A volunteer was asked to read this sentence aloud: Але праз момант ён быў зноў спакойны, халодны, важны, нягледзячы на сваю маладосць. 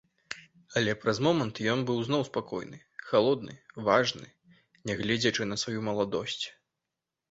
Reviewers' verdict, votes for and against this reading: accepted, 2, 0